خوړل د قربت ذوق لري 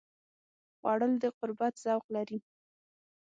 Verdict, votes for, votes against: accepted, 6, 0